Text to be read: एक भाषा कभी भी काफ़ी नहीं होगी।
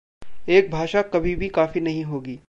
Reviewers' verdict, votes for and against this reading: accepted, 2, 0